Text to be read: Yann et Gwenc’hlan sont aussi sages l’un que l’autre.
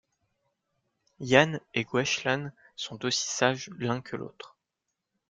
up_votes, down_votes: 2, 0